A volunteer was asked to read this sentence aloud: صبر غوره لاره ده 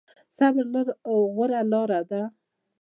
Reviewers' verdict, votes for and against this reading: rejected, 1, 2